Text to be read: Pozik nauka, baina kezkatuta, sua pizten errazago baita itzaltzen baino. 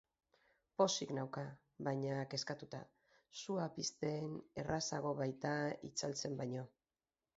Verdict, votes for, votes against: accepted, 2, 0